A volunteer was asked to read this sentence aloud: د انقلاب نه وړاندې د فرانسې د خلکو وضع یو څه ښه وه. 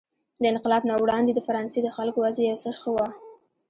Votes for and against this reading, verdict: 0, 2, rejected